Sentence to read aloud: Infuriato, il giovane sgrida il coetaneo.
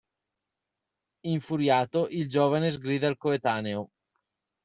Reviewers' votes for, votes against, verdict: 2, 0, accepted